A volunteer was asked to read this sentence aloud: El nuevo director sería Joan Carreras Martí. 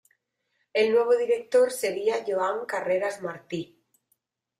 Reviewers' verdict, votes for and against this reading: accepted, 2, 0